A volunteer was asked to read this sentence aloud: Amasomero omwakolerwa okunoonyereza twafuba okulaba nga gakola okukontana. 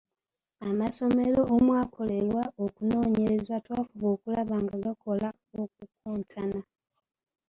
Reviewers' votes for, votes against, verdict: 2, 0, accepted